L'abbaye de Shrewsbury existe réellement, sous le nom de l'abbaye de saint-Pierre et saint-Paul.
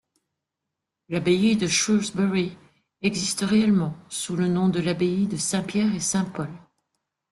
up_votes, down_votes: 2, 0